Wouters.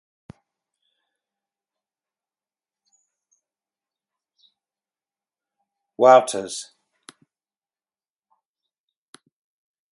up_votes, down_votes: 2, 2